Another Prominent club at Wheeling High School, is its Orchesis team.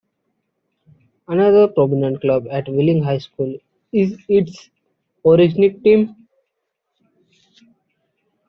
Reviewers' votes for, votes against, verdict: 0, 2, rejected